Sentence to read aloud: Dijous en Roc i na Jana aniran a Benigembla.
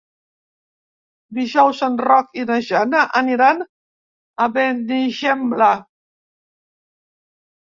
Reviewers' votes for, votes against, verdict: 1, 2, rejected